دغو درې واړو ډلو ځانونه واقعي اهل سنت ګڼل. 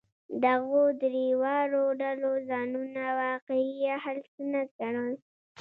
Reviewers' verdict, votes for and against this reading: rejected, 1, 2